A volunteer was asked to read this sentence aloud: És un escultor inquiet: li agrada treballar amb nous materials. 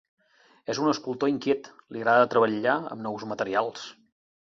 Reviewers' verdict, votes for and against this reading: rejected, 0, 2